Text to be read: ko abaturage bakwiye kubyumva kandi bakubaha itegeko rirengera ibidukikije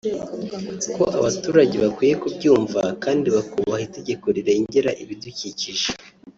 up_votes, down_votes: 1, 2